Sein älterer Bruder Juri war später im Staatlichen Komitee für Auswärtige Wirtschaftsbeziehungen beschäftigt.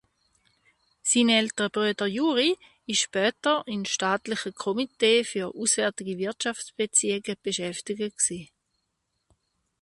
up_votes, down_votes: 0, 2